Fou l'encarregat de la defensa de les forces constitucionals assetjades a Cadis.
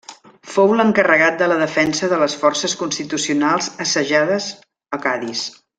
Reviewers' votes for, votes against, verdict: 1, 2, rejected